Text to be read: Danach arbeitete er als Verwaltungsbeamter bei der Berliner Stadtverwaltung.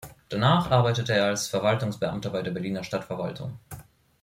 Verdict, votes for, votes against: rejected, 1, 2